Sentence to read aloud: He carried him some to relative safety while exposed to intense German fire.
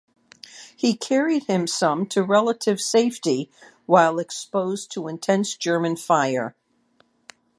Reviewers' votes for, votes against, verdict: 2, 0, accepted